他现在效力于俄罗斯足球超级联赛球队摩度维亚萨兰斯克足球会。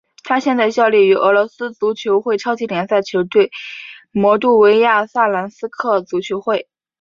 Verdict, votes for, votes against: rejected, 2, 2